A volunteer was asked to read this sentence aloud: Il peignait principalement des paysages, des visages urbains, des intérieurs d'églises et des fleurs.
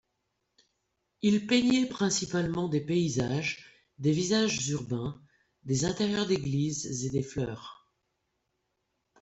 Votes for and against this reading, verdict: 3, 1, accepted